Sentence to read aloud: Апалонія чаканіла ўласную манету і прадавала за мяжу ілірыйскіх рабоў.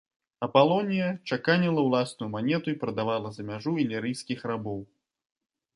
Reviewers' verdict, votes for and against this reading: accepted, 2, 0